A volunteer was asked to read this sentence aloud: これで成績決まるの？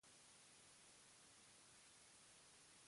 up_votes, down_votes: 1, 2